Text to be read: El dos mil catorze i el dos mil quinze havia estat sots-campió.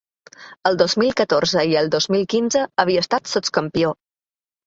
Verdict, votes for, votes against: accepted, 2, 0